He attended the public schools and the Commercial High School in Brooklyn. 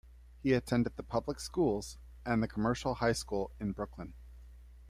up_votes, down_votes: 2, 0